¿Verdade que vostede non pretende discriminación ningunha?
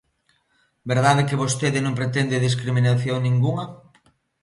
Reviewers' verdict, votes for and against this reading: accepted, 2, 0